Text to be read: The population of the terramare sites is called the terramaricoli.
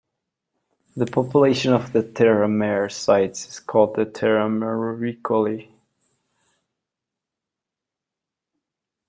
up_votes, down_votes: 0, 2